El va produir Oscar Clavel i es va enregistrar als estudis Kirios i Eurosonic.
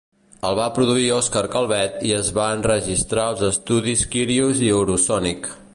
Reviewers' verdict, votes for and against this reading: rejected, 0, 2